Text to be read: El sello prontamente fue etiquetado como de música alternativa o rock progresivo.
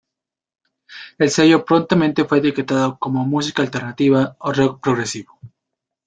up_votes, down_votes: 1, 2